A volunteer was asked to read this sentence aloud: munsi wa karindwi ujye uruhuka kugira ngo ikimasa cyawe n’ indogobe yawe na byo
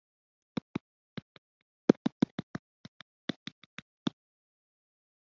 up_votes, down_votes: 0, 4